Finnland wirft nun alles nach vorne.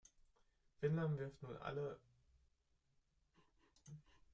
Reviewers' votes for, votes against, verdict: 0, 2, rejected